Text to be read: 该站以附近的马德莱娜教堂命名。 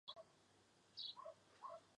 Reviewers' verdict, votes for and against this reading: rejected, 4, 6